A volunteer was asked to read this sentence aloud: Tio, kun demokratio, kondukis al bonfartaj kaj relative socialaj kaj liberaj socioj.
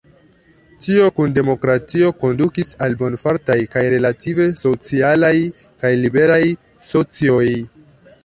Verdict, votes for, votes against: rejected, 1, 2